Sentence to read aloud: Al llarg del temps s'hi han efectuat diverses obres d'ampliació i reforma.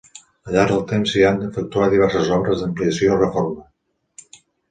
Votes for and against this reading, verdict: 2, 0, accepted